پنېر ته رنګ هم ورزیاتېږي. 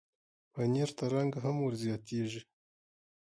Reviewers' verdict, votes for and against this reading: accepted, 4, 1